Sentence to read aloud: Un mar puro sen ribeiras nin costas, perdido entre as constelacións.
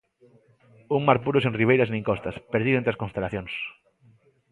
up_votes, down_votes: 2, 1